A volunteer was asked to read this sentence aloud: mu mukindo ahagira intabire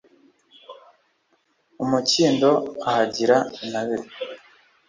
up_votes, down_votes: 2, 0